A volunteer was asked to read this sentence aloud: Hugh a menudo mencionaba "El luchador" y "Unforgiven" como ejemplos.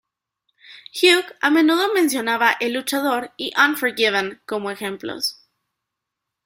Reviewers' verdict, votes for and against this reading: accepted, 2, 0